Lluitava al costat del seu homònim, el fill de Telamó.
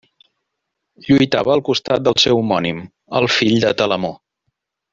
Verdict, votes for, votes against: accepted, 2, 0